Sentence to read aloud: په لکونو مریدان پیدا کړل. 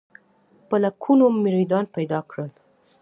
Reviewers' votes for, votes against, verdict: 2, 0, accepted